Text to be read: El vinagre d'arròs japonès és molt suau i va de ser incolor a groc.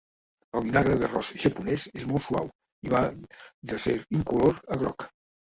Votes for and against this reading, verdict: 2, 1, accepted